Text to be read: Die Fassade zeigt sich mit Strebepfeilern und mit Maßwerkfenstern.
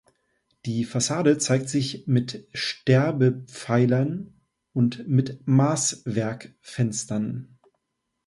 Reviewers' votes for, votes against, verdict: 0, 2, rejected